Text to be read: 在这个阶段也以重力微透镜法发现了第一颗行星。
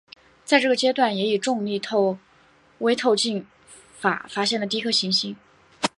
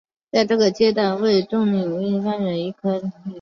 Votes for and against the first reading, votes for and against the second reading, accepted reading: 1, 3, 2, 0, second